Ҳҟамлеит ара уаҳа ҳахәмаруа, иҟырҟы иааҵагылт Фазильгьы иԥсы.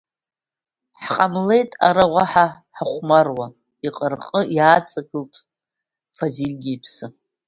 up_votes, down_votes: 2, 0